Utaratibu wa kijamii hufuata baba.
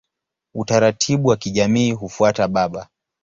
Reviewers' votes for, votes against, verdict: 2, 0, accepted